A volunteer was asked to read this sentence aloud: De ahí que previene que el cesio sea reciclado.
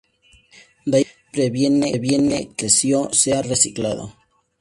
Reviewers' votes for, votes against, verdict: 0, 2, rejected